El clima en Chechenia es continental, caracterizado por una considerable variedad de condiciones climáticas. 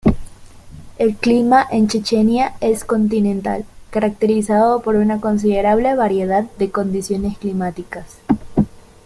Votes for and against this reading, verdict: 2, 0, accepted